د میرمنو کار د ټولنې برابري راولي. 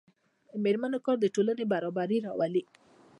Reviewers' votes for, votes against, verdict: 1, 2, rejected